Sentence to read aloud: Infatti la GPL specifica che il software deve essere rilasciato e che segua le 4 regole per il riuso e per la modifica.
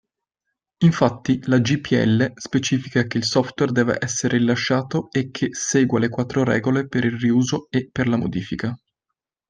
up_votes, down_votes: 0, 2